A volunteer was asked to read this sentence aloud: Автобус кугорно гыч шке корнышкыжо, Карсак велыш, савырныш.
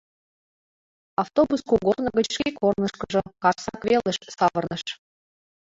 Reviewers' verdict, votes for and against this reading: rejected, 1, 2